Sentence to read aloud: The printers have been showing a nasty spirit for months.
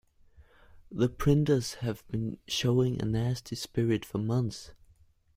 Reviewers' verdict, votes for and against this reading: accepted, 2, 0